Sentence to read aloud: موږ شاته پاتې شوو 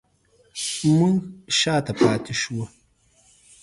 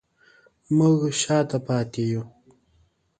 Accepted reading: first